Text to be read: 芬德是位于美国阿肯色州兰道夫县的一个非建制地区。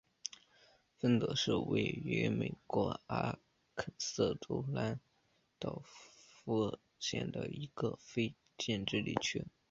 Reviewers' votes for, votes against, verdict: 3, 2, accepted